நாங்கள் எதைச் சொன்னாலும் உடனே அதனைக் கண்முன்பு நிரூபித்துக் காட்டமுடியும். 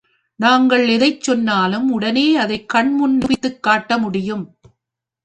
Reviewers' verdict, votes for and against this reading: rejected, 1, 2